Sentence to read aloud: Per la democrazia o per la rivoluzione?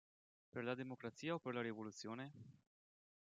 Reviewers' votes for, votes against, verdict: 1, 2, rejected